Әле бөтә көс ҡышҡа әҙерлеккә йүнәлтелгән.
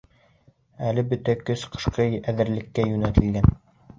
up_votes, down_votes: 2, 0